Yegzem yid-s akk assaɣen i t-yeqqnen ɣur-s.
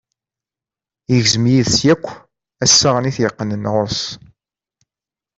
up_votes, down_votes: 2, 1